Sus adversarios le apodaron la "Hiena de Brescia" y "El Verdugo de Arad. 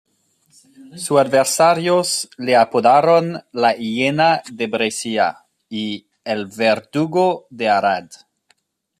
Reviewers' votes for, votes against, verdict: 1, 2, rejected